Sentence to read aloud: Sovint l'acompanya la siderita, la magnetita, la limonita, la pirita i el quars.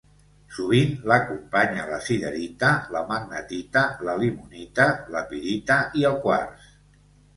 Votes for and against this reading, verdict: 2, 0, accepted